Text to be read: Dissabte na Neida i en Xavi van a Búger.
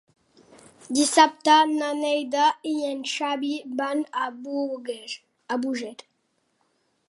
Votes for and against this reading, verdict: 1, 2, rejected